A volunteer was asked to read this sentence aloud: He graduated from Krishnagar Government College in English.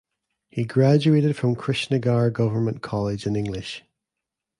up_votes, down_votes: 2, 0